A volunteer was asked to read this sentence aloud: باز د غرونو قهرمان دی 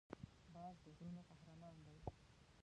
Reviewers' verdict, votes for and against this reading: rejected, 1, 2